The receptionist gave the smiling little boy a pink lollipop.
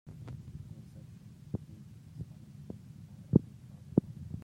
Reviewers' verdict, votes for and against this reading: rejected, 0, 2